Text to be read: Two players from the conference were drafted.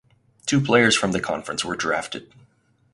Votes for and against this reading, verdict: 4, 0, accepted